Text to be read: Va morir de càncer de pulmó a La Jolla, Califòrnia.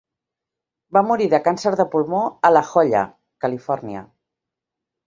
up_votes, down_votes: 2, 0